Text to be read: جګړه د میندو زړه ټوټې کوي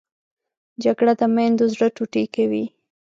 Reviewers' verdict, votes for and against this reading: accepted, 2, 0